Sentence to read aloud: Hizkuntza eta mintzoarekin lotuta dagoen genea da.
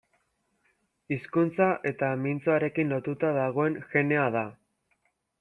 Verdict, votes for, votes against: accepted, 2, 0